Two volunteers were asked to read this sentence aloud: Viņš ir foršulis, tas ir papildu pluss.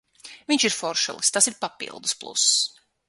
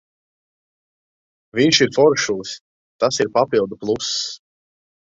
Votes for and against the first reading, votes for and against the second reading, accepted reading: 3, 6, 2, 0, second